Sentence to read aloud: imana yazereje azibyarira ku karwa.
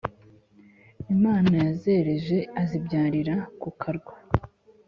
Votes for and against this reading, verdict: 2, 0, accepted